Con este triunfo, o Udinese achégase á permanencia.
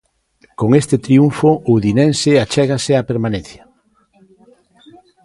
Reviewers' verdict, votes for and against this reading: rejected, 0, 2